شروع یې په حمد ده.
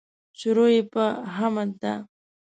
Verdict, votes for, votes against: rejected, 0, 2